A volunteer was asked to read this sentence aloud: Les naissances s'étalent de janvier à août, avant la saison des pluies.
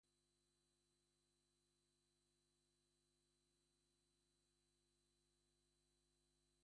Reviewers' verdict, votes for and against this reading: rejected, 0, 2